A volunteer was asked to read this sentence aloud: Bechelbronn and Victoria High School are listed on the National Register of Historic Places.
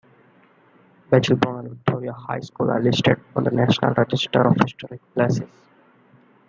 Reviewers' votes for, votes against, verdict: 0, 2, rejected